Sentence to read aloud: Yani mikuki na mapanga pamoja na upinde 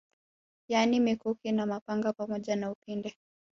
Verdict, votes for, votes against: accepted, 3, 0